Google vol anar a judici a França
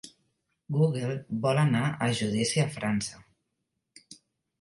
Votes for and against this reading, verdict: 3, 0, accepted